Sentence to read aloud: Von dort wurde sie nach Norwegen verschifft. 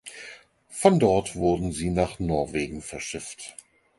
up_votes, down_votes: 4, 2